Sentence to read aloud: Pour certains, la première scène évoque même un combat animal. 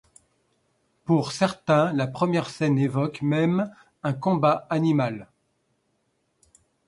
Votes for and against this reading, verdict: 2, 0, accepted